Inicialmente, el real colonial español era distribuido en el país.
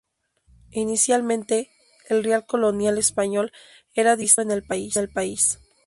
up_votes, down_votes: 0, 2